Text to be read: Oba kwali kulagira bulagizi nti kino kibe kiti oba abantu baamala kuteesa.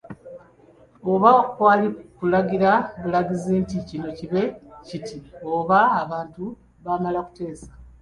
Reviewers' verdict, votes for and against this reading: accepted, 2, 1